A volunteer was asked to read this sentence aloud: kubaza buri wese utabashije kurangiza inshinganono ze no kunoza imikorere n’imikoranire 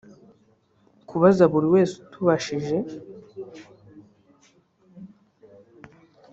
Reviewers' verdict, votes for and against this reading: rejected, 0, 2